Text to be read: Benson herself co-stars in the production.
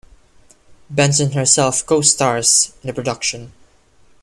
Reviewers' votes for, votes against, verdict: 1, 2, rejected